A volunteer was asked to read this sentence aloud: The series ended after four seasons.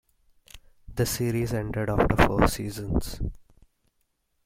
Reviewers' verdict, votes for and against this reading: rejected, 0, 2